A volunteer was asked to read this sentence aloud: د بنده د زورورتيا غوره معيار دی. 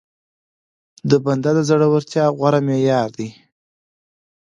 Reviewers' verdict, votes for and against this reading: accepted, 2, 0